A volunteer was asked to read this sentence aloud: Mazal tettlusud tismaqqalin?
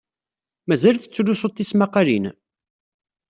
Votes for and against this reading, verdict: 2, 0, accepted